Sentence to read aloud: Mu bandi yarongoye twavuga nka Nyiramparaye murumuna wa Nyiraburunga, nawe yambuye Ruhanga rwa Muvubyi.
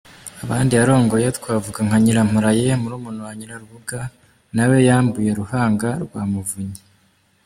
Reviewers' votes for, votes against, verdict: 1, 2, rejected